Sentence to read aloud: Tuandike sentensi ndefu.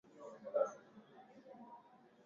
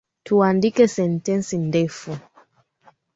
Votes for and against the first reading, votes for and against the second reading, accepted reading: 0, 2, 2, 0, second